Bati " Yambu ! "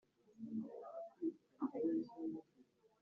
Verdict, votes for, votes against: rejected, 0, 2